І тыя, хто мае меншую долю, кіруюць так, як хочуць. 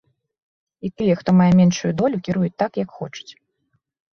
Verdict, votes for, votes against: accepted, 2, 0